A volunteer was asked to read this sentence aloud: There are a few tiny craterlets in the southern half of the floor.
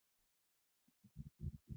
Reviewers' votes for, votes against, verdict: 0, 2, rejected